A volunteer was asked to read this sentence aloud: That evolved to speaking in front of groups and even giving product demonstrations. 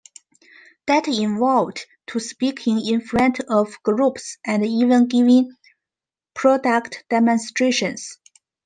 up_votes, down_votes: 2, 0